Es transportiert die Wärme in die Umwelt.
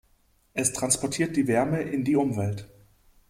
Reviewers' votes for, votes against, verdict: 2, 0, accepted